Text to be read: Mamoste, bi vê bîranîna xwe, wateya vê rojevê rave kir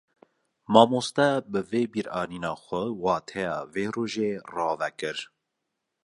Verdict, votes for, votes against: accepted, 2, 1